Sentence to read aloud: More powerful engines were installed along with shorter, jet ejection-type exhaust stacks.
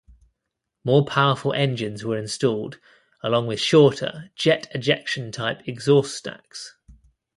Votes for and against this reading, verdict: 2, 0, accepted